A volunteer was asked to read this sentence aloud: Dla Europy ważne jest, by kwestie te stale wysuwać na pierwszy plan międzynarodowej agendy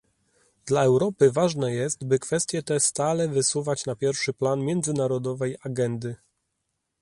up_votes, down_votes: 2, 0